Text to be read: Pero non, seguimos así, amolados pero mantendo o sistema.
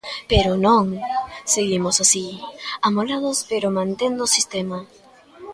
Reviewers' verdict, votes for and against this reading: accepted, 2, 0